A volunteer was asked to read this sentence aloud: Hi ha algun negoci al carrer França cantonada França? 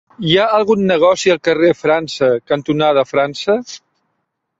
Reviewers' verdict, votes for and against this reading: accepted, 3, 0